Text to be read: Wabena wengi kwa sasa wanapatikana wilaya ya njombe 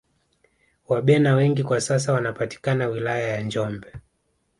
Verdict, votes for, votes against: accepted, 2, 0